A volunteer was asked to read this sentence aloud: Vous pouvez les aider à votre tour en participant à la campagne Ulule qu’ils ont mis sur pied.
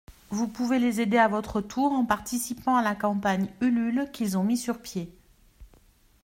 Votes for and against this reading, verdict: 2, 0, accepted